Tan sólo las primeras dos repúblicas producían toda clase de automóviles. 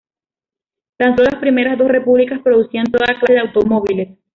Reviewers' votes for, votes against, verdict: 0, 2, rejected